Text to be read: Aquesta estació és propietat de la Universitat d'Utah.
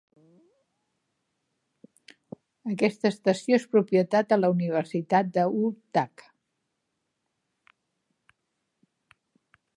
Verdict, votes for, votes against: rejected, 0, 2